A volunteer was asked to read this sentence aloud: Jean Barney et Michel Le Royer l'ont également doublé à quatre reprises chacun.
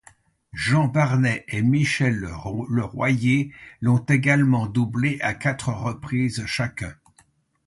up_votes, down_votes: 0, 2